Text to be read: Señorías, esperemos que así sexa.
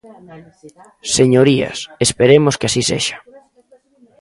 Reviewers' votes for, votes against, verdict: 1, 2, rejected